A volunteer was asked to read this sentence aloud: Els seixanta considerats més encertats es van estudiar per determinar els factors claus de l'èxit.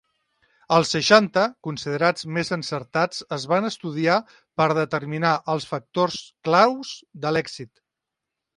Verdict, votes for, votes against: accepted, 3, 0